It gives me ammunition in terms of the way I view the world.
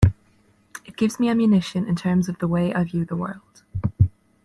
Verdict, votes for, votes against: accepted, 2, 0